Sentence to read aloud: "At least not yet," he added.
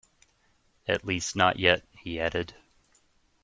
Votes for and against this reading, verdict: 2, 1, accepted